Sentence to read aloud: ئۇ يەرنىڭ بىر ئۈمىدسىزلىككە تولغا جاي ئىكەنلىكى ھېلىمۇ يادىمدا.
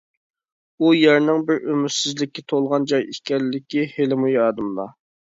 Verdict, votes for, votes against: accepted, 2, 0